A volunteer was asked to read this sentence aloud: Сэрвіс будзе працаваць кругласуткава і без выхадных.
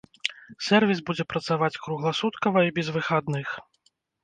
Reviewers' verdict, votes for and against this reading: accepted, 2, 0